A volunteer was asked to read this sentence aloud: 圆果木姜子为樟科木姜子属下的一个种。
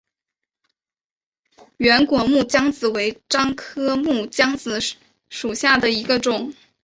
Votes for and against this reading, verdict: 2, 0, accepted